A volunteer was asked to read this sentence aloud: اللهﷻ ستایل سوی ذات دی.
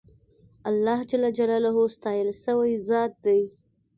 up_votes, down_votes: 2, 0